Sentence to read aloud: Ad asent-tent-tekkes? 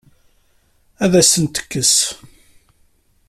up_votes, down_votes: 0, 2